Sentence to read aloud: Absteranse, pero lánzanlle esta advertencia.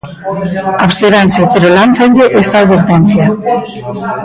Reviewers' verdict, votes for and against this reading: rejected, 0, 2